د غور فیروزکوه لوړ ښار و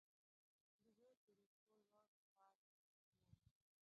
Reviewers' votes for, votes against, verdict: 0, 2, rejected